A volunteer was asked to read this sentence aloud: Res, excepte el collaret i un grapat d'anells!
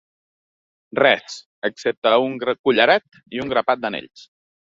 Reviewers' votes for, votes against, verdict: 1, 2, rejected